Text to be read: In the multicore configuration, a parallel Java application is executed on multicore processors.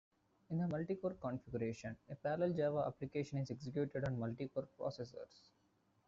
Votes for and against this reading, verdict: 0, 2, rejected